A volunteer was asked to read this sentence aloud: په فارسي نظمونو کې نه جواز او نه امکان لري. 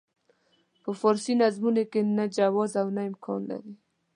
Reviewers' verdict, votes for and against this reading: accepted, 2, 0